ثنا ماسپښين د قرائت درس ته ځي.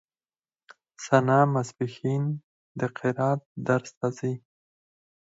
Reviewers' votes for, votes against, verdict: 4, 2, accepted